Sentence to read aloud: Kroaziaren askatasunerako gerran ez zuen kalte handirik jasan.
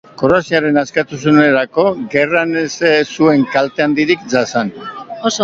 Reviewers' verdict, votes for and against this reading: rejected, 1, 2